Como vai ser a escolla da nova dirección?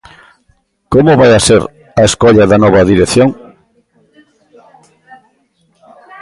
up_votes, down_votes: 2, 1